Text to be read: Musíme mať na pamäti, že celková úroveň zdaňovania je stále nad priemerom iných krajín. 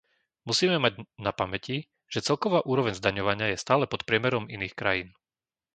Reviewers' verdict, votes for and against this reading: rejected, 0, 2